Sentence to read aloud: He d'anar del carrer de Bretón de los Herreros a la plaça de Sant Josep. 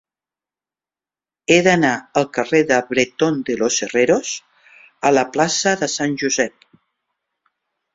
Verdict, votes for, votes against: rejected, 2, 3